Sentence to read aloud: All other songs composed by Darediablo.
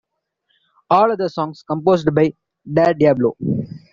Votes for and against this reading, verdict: 2, 1, accepted